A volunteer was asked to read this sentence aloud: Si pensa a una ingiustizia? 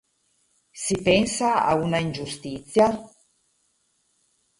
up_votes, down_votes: 2, 2